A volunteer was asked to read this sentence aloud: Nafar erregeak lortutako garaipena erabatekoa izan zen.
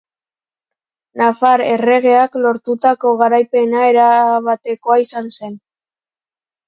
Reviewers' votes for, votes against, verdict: 2, 0, accepted